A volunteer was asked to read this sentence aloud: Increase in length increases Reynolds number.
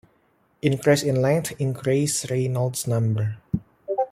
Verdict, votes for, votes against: accepted, 2, 1